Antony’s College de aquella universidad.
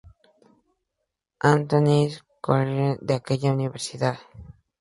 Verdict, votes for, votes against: rejected, 0, 2